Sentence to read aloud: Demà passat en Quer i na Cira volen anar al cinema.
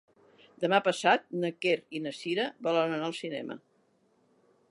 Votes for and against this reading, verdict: 0, 2, rejected